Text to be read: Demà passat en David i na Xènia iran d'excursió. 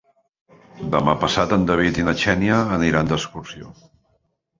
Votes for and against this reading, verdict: 0, 2, rejected